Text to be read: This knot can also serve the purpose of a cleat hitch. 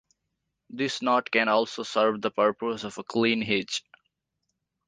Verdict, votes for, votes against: rejected, 0, 2